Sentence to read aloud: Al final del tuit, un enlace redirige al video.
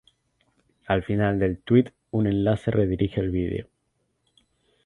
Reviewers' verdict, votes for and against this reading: accepted, 2, 0